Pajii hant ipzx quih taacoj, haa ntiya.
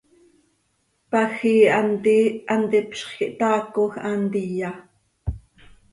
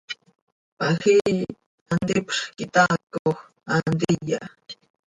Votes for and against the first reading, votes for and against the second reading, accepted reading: 1, 2, 2, 1, second